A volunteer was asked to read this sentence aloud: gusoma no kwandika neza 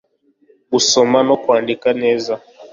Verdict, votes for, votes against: accepted, 2, 0